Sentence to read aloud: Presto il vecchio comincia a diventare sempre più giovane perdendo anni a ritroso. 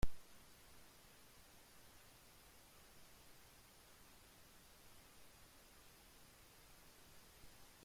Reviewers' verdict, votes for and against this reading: rejected, 0, 2